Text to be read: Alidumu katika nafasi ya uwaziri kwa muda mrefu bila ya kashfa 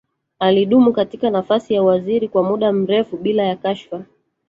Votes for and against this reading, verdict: 1, 2, rejected